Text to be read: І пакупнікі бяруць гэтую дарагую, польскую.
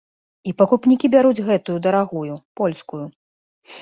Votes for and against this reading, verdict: 2, 0, accepted